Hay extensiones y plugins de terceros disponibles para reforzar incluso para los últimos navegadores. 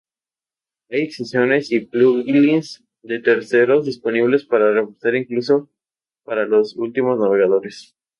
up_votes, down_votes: 2, 0